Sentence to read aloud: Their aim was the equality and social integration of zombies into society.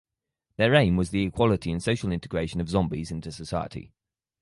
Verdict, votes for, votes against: accepted, 4, 0